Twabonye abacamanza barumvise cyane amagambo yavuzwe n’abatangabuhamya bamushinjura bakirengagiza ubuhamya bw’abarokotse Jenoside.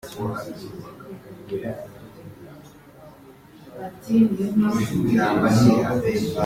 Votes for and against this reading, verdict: 0, 2, rejected